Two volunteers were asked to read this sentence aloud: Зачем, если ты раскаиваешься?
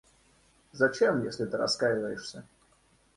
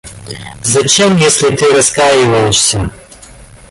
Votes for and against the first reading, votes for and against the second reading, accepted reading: 2, 0, 0, 2, first